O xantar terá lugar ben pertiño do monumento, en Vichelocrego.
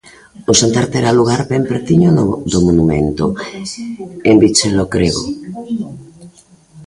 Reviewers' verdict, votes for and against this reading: rejected, 0, 2